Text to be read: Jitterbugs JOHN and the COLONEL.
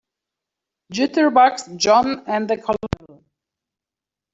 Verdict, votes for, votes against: accepted, 2, 1